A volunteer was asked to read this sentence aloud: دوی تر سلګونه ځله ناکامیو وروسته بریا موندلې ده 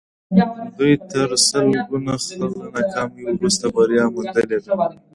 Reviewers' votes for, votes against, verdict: 2, 0, accepted